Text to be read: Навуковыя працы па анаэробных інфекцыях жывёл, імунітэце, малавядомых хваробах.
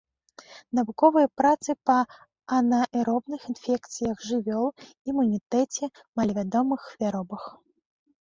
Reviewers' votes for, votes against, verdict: 0, 2, rejected